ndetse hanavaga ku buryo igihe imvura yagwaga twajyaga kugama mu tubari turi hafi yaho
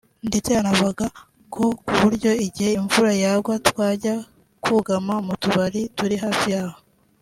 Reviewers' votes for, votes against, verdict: 0, 2, rejected